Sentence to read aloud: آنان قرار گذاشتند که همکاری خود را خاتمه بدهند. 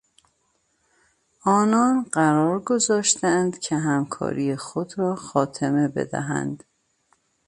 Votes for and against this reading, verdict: 2, 0, accepted